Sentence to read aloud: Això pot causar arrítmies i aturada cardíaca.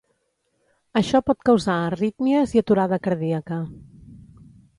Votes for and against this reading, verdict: 3, 0, accepted